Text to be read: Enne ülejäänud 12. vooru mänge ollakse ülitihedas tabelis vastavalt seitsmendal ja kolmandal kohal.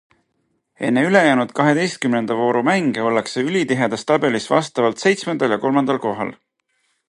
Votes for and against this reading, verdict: 0, 2, rejected